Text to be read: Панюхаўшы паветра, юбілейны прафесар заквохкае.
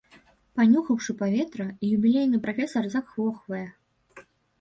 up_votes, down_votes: 1, 2